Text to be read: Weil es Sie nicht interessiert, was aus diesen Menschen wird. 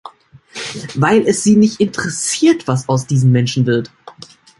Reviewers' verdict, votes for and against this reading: accepted, 3, 0